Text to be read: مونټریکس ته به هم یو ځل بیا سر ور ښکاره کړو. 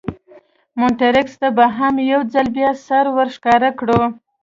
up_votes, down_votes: 2, 1